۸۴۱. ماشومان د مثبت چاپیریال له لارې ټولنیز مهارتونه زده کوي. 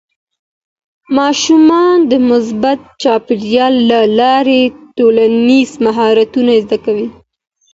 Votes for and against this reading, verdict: 0, 2, rejected